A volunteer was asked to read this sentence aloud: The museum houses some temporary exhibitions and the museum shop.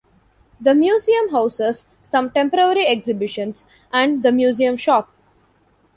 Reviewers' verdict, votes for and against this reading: rejected, 1, 2